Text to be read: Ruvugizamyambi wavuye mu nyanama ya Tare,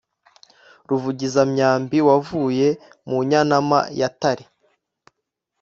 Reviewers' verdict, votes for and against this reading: accepted, 2, 0